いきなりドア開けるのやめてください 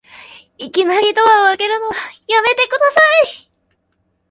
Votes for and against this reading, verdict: 10, 1, accepted